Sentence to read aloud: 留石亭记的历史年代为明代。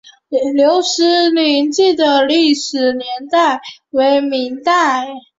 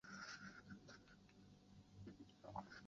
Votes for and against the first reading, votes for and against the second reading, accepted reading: 2, 0, 0, 2, first